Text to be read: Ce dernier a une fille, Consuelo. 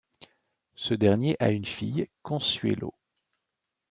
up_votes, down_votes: 2, 0